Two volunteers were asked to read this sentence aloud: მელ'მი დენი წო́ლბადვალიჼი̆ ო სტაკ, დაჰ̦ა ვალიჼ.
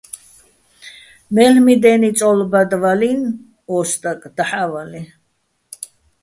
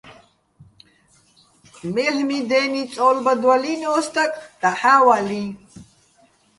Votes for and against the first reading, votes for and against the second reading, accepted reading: 2, 1, 1, 2, first